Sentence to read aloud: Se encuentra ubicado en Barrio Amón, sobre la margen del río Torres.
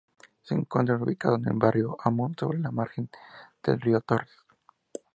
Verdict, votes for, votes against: rejected, 0, 2